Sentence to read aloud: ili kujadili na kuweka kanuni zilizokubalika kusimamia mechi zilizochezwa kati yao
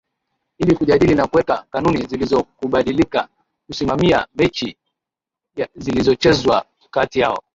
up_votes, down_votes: 2, 0